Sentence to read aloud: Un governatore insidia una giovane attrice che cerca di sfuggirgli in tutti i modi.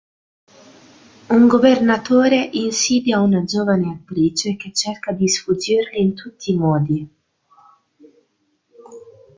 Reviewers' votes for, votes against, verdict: 1, 2, rejected